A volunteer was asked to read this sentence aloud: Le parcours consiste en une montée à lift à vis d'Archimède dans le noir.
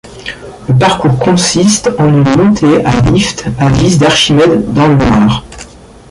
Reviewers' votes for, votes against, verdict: 1, 2, rejected